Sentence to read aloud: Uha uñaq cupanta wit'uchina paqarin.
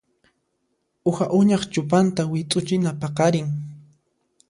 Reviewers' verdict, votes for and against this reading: accepted, 2, 0